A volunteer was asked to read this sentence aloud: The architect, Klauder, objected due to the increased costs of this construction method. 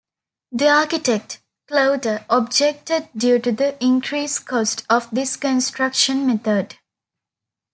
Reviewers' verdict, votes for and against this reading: rejected, 1, 2